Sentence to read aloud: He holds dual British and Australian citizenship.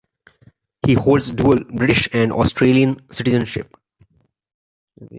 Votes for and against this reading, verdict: 2, 0, accepted